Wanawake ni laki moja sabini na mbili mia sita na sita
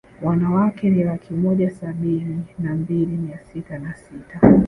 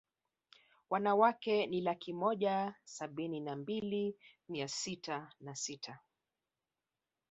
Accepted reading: second